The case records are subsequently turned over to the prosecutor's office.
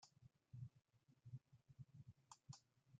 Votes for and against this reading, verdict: 0, 2, rejected